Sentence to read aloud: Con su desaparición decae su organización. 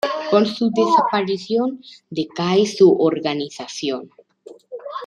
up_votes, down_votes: 2, 0